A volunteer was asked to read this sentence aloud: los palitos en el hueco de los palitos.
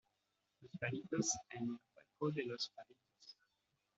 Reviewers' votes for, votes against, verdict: 2, 0, accepted